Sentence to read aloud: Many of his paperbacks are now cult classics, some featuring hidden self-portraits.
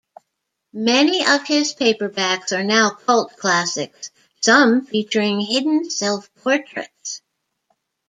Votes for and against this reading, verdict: 2, 0, accepted